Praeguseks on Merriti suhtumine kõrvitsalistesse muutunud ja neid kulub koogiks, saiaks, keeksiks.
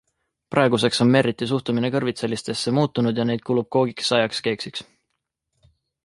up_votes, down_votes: 2, 0